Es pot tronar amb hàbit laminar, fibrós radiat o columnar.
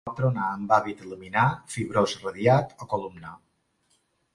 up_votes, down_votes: 0, 2